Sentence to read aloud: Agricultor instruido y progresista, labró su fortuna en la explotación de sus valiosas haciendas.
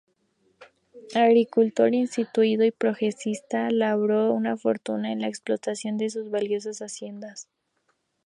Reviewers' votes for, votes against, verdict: 0, 2, rejected